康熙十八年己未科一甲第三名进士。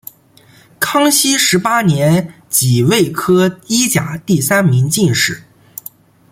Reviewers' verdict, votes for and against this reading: accepted, 2, 0